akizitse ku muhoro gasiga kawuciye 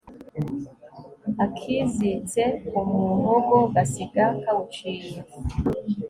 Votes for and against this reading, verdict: 1, 2, rejected